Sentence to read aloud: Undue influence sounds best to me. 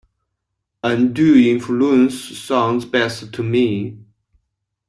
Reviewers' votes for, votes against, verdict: 3, 0, accepted